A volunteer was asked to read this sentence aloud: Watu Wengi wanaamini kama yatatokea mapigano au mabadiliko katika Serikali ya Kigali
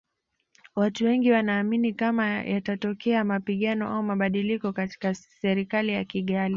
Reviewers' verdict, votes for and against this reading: accepted, 2, 0